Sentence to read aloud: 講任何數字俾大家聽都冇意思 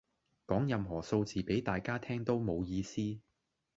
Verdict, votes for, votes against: accepted, 2, 1